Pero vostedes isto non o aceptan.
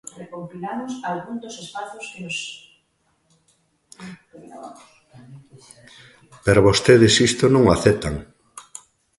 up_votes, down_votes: 1, 2